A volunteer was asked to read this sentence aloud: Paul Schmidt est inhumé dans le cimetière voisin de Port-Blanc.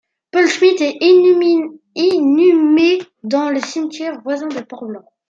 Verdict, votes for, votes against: rejected, 0, 2